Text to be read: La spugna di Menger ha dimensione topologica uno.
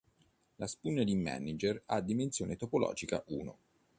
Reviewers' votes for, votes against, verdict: 1, 2, rejected